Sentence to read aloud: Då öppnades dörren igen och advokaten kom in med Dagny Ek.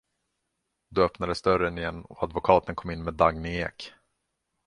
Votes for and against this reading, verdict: 2, 0, accepted